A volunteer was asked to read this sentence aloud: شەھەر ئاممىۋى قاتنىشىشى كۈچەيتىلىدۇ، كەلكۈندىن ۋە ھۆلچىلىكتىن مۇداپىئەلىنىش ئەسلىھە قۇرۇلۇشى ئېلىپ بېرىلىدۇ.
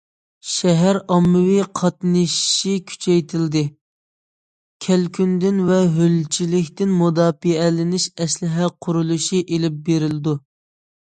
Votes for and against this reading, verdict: 0, 2, rejected